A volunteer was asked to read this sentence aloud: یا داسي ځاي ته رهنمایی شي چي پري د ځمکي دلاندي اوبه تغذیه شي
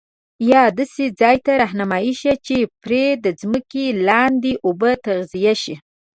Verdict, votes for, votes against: accepted, 2, 1